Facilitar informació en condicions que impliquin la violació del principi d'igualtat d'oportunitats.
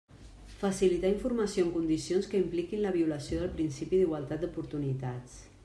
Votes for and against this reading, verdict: 3, 0, accepted